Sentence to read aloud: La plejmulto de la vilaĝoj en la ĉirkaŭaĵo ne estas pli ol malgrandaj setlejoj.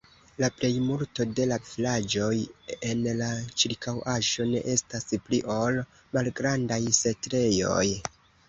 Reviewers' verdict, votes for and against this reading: rejected, 0, 2